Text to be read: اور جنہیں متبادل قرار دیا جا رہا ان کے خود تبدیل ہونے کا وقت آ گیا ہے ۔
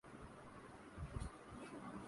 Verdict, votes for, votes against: rejected, 0, 2